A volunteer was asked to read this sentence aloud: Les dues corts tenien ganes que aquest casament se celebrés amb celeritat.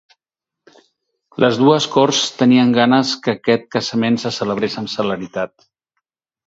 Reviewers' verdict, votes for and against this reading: rejected, 2, 2